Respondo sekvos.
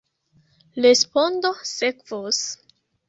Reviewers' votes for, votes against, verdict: 1, 2, rejected